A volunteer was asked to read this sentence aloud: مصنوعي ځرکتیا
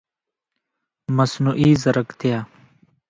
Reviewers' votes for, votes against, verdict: 0, 2, rejected